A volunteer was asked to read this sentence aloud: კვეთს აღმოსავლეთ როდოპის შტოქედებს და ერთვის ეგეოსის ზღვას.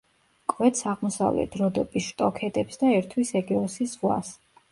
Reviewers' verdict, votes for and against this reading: rejected, 1, 2